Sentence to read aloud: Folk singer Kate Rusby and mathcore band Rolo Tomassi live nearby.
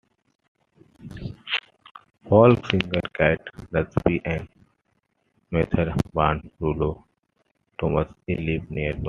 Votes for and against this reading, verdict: 0, 2, rejected